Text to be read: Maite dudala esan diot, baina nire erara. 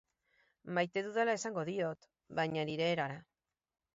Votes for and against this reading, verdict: 2, 2, rejected